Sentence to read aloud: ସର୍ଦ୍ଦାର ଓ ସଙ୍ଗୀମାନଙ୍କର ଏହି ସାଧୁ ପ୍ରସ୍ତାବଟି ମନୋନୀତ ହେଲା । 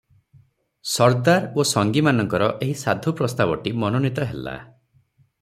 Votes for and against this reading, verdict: 6, 0, accepted